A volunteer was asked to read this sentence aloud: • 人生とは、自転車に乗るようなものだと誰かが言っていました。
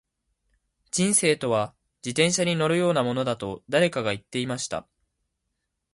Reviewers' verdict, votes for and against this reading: accepted, 2, 0